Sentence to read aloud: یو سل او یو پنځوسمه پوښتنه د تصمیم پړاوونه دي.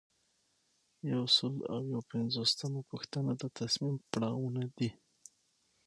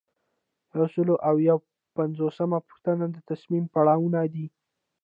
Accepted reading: first